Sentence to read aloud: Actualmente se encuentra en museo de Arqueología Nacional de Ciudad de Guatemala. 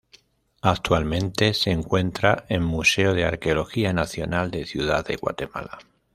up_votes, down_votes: 1, 2